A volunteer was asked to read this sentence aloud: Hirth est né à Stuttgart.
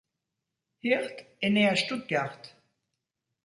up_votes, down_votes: 1, 2